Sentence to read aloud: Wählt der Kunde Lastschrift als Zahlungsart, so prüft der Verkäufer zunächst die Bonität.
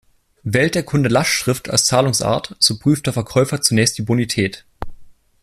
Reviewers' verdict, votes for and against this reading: accepted, 2, 0